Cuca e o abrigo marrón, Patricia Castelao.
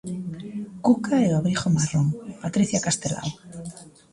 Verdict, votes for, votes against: rejected, 1, 2